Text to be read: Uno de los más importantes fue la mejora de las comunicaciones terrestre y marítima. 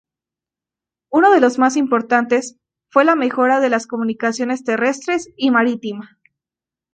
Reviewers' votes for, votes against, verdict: 0, 2, rejected